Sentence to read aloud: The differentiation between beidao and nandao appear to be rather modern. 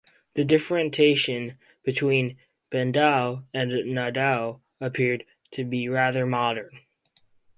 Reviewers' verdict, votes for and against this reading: rejected, 2, 4